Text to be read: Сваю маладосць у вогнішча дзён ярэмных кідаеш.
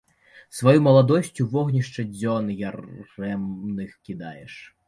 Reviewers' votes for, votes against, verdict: 0, 2, rejected